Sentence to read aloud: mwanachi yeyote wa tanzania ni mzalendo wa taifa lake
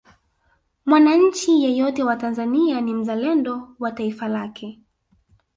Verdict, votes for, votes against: rejected, 1, 2